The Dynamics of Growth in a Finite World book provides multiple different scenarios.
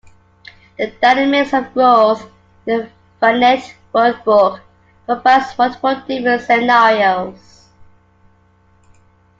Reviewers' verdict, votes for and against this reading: rejected, 0, 2